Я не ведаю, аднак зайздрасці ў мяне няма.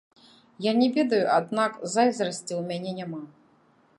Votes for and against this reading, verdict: 1, 2, rejected